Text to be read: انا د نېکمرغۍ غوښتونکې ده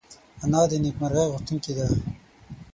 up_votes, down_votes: 0, 6